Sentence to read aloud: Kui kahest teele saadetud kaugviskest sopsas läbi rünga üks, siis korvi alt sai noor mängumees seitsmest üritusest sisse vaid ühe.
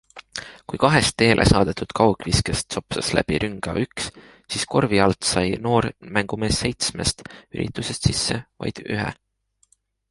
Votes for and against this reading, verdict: 2, 0, accepted